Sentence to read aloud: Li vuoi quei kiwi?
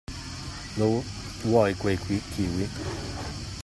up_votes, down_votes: 0, 2